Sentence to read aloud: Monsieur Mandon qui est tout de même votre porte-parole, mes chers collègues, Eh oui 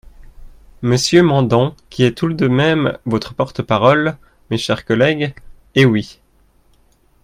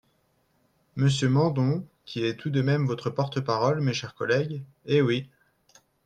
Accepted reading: second